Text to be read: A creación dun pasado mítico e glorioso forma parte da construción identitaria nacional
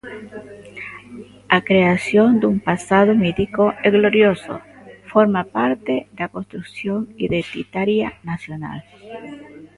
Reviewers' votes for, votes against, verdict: 0, 2, rejected